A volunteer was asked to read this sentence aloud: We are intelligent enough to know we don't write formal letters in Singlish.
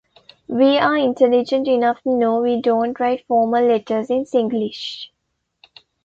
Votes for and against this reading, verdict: 0, 2, rejected